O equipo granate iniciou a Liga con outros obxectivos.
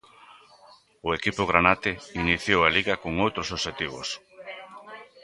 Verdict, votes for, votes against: accepted, 2, 0